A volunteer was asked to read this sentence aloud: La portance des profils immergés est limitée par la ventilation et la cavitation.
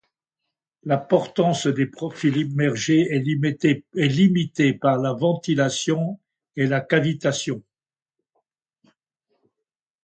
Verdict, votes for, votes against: rejected, 1, 2